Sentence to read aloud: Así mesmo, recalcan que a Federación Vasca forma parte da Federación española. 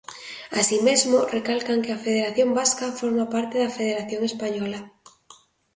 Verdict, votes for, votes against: accepted, 2, 0